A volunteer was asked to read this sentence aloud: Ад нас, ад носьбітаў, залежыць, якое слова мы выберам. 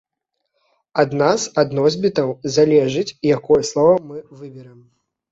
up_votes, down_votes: 2, 0